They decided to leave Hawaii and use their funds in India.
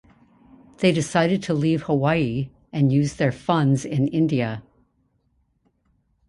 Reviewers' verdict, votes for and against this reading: accepted, 2, 0